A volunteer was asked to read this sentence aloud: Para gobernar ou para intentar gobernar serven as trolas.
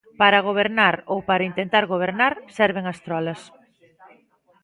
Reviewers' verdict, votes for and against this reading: accepted, 2, 0